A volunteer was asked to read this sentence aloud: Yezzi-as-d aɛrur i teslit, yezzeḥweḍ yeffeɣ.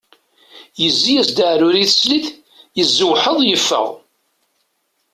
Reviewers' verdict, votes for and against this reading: rejected, 0, 2